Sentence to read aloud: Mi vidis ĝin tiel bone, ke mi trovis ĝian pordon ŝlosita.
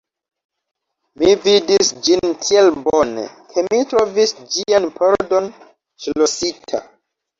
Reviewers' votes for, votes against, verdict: 2, 0, accepted